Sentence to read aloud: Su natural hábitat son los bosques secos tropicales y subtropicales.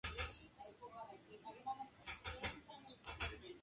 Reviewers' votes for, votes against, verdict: 0, 2, rejected